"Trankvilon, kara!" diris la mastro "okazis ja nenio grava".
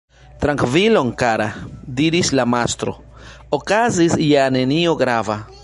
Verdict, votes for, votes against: rejected, 1, 2